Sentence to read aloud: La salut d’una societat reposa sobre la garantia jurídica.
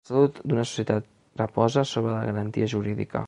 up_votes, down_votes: 1, 6